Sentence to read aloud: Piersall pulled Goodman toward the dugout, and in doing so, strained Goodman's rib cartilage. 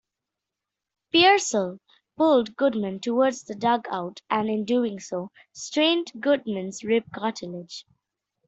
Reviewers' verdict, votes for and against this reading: rejected, 1, 2